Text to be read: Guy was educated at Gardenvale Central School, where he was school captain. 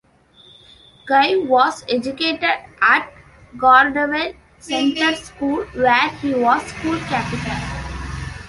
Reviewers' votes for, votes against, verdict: 0, 2, rejected